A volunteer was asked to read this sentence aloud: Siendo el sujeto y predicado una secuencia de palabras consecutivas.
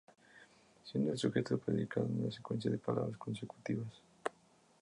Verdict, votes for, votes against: rejected, 0, 2